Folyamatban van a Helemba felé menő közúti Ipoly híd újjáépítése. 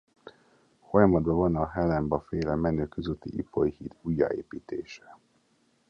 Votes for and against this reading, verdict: 1, 2, rejected